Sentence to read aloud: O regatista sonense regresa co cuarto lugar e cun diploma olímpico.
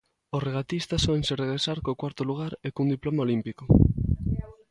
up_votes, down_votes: 1, 2